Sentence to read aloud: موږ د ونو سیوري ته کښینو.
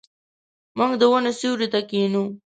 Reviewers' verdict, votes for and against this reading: rejected, 1, 2